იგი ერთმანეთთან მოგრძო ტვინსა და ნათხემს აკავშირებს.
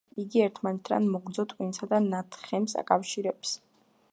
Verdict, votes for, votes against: rejected, 0, 2